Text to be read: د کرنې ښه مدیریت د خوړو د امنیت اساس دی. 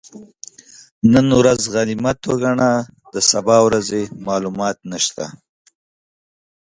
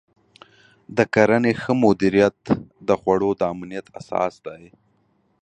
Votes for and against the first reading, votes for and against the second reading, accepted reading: 1, 2, 5, 0, second